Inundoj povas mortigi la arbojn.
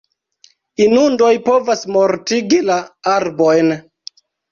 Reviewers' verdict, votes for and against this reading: accepted, 2, 0